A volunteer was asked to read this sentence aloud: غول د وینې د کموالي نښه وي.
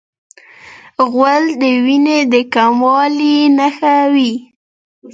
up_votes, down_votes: 1, 2